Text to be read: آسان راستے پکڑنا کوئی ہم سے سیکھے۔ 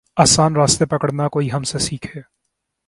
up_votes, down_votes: 2, 0